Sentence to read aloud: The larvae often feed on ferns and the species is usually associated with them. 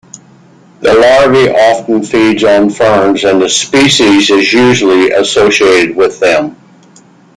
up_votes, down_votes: 1, 2